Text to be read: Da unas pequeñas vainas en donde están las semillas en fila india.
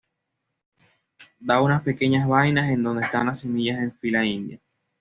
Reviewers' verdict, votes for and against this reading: accepted, 2, 1